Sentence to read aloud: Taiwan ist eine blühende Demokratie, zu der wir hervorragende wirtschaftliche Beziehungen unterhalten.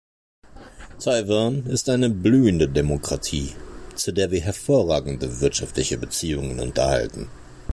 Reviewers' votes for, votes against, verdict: 2, 0, accepted